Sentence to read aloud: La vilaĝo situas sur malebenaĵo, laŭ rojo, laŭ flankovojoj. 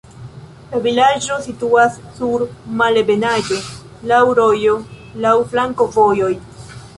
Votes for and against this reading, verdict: 2, 1, accepted